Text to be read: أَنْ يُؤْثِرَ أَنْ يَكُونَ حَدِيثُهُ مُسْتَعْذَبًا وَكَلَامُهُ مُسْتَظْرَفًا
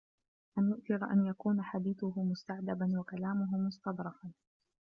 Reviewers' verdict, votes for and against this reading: rejected, 0, 2